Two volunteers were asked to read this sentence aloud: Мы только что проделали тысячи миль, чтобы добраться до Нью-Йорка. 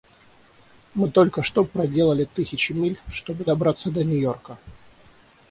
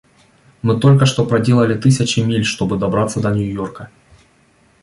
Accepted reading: second